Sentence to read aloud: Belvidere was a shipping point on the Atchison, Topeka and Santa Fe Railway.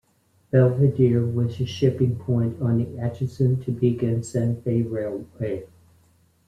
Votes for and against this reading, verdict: 1, 2, rejected